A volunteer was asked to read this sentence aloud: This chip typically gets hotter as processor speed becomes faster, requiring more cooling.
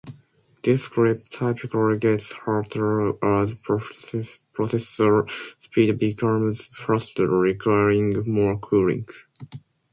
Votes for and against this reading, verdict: 0, 2, rejected